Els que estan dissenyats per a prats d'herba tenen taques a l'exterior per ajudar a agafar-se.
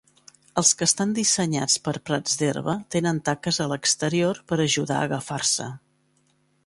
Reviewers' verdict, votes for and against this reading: accepted, 2, 1